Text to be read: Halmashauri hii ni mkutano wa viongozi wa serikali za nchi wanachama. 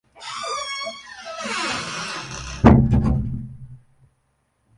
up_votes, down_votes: 0, 2